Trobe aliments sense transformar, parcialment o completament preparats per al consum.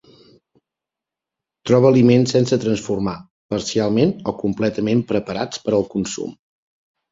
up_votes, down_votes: 2, 0